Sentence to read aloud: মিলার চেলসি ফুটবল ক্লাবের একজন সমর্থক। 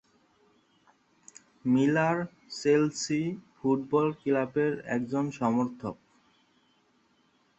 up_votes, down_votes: 0, 4